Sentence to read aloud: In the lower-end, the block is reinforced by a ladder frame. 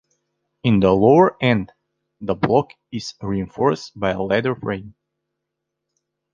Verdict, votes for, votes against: accepted, 2, 0